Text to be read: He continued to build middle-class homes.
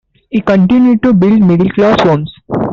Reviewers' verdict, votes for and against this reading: accepted, 2, 1